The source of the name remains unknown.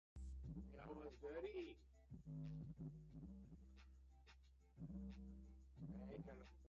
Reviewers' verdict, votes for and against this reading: rejected, 0, 2